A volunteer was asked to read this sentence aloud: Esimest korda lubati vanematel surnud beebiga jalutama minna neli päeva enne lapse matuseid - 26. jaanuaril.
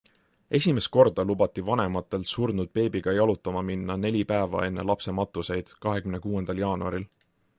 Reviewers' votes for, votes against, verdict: 0, 2, rejected